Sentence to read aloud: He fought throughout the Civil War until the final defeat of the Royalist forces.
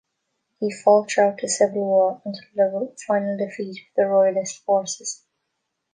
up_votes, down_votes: 0, 2